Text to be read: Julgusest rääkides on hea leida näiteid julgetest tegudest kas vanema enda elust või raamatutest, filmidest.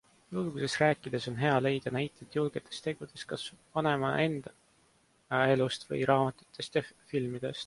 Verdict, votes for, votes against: rejected, 0, 2